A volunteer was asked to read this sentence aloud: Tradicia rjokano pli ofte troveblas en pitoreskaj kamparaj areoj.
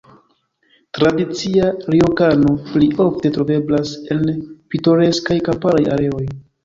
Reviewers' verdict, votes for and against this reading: rejected, 0, 2